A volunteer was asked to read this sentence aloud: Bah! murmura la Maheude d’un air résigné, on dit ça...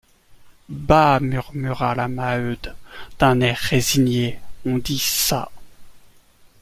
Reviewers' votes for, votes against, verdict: 1, 2, rejected